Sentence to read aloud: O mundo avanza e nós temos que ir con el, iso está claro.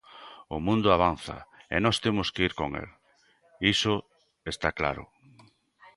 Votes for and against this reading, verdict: 2, 0, accepted